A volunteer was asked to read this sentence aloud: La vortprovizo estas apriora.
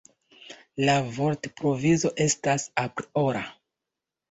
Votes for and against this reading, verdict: 2, 0, accepted